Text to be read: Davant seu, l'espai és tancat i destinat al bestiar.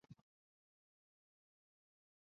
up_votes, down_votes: 1, 2